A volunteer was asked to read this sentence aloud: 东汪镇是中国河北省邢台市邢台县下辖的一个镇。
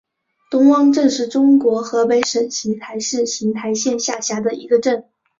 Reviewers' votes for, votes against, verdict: 2, 0, accepted